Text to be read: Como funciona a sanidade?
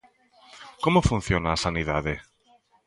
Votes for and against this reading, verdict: 2, 0, accepted